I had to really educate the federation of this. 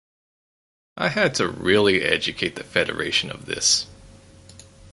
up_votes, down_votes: 4, 0